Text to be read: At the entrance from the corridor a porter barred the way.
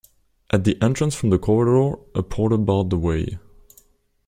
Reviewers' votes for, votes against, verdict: 2, 0, accepted